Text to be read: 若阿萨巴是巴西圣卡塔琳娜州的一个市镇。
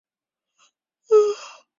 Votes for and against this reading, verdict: 0, 4, rejected